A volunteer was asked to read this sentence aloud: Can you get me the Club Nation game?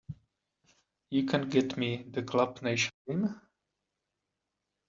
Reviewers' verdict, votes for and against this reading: rejected, 0, 2